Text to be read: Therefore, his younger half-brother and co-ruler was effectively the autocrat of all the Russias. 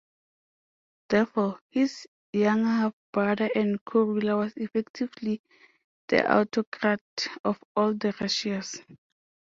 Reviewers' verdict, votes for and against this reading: accepted, 2, 1